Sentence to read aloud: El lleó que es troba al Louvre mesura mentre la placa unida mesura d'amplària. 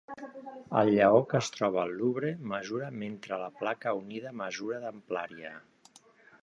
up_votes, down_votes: 3, 2